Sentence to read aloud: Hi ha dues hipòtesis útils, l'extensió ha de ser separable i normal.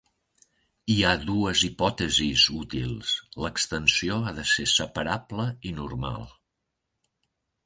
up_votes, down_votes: 3, 0